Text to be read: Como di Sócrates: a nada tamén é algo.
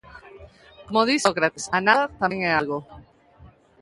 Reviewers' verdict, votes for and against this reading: rejected, 0, 2